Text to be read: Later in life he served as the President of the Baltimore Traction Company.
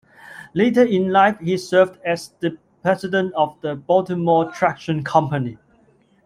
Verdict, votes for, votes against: accepted, 2, 0